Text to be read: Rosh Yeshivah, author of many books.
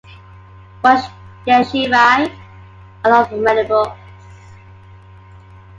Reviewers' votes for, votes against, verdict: 1, 2, rejected